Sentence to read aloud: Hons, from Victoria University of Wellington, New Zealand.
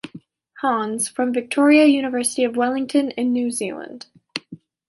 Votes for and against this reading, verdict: 1, 2, rejected